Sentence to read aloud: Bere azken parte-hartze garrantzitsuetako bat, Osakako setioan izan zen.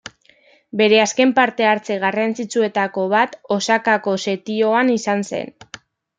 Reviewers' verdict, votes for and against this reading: accepted, 2, 0